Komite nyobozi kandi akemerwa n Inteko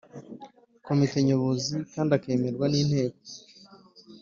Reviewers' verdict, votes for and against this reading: accepted, 2, 0